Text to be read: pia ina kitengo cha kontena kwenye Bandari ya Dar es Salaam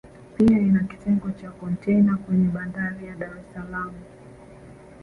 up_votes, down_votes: 3, 5